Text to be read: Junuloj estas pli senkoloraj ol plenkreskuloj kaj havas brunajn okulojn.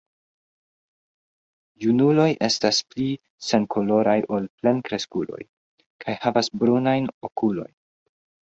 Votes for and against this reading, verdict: 0, 2, rejected